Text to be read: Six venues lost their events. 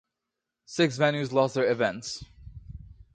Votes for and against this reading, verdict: 2, 0, accepted